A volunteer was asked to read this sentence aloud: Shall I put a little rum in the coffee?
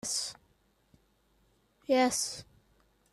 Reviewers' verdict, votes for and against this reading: rejected, 0, 3